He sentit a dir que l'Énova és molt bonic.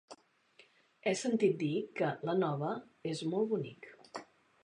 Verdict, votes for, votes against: rejected, 0, 2